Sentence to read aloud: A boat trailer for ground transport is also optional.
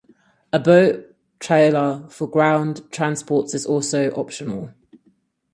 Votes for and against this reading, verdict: 2, 2, rejected